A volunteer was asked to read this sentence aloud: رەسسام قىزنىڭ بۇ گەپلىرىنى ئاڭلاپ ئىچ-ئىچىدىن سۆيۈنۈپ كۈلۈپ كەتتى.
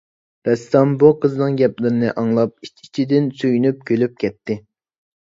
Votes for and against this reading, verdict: 0, 2, rejected